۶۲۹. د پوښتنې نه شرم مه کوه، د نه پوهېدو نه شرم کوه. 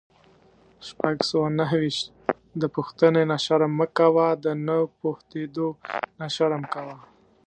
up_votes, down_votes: 0, 2